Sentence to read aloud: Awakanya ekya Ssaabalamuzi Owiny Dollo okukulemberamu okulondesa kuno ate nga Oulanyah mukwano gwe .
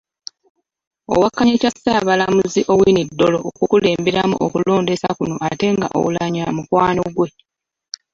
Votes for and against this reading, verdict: 0, 2, rejected